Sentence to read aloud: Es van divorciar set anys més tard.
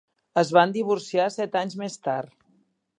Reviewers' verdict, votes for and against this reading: accepted, 4, 0